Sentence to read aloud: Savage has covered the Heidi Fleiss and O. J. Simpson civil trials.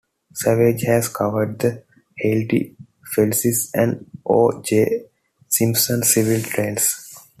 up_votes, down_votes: 1, 2